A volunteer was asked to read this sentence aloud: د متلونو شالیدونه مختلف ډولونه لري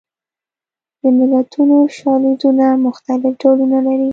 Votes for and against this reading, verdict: 0, 2, rejected